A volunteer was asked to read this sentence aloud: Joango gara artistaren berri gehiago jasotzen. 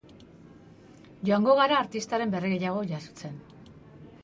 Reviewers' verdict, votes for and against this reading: accepted, 3, 0